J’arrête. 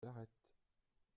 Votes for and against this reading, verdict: 0, 2, rejected